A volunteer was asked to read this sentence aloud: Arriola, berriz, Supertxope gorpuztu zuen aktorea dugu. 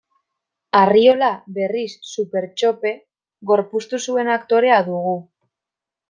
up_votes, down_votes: 2, 0